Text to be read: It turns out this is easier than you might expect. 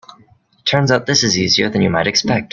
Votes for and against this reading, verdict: 2, 0, accepted